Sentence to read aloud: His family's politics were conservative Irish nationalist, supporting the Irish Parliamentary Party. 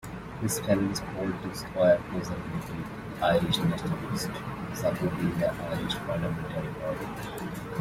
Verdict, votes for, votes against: rejected, 1, 2